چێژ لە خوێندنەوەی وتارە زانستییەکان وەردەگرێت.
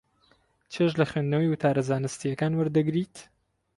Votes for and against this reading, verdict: 4, 2, accepted